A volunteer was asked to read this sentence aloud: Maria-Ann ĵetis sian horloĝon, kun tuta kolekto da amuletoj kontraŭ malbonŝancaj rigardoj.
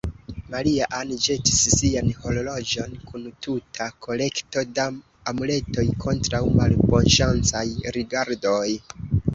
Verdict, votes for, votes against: accepted, 2, 0